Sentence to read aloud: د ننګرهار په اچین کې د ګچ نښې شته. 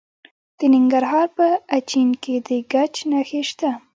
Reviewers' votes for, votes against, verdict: 1, 3, rejected